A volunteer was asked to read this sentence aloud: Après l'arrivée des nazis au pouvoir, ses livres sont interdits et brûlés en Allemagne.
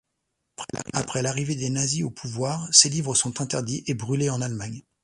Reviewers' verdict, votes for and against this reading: rejected, 1, 2